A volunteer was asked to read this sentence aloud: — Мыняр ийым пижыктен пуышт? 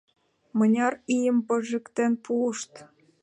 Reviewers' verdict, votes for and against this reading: rejected, 0, 2